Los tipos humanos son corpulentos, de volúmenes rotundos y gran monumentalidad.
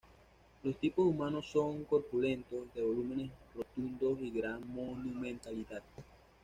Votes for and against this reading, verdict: 2, 1, accepted